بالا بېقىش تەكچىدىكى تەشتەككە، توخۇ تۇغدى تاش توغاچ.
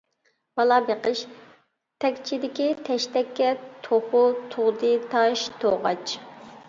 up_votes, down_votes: 2, 0